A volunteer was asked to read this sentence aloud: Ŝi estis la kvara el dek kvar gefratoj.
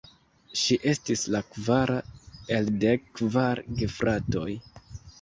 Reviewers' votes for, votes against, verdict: 2, 0, accepted